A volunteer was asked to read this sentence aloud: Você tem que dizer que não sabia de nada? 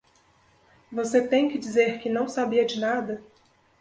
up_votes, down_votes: 2, 0